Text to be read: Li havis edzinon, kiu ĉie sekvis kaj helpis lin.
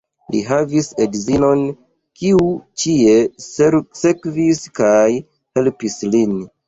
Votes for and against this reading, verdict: 1, 2, rejected